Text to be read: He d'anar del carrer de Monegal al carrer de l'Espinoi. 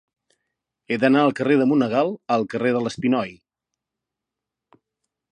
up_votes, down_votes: 0, 2